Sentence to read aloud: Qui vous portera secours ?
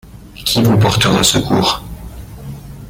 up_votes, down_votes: 1, 2